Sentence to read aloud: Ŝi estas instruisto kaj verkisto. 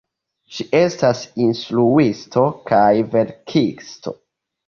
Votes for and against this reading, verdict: 2, 0, accepted